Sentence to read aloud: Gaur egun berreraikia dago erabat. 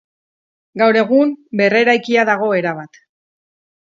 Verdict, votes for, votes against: accepted, 4, 2